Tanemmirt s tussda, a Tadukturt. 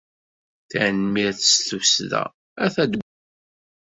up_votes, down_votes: 0, 2